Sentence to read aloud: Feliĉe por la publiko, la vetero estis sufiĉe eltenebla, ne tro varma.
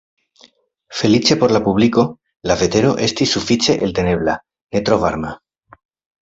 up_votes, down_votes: 2, 0